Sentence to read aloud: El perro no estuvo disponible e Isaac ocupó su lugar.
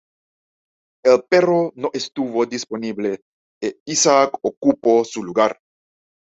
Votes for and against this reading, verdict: 2, 0, accepted